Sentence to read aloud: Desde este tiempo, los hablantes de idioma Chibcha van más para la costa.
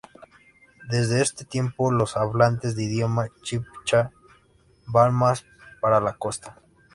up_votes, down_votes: 2, 0